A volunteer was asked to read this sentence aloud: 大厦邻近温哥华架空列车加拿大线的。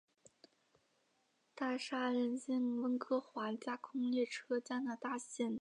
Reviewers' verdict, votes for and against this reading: rejected, 3, 4